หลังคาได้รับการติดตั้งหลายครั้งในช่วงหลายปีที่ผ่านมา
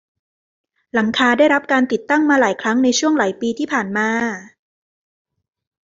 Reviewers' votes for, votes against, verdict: 1, 2, rejected